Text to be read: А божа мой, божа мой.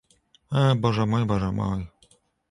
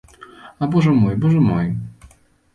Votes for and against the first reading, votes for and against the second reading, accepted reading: 1, 2, 2, 0, second